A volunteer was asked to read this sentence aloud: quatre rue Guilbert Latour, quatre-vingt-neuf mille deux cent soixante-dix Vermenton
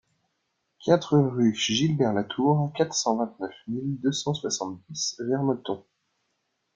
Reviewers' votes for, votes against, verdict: 0, 2, rejected